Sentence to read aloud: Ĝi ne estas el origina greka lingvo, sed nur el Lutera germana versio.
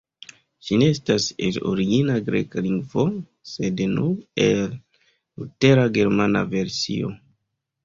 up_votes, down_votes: 2, 0